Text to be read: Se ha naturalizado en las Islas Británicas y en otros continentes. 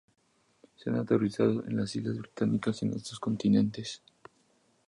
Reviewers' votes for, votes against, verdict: 2, 0, accepted